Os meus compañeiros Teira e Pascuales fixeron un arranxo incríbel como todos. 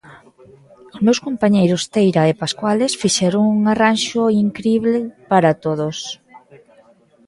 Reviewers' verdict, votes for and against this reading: rejected, 0, 2